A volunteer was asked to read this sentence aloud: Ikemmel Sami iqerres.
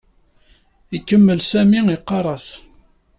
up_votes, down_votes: 1, 2